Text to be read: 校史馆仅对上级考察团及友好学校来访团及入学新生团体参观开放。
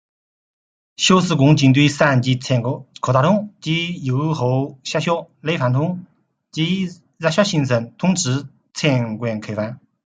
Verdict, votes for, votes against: rejected, 1, 2